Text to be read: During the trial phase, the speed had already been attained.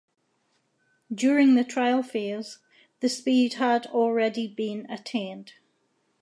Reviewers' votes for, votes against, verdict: 2, 0, accepted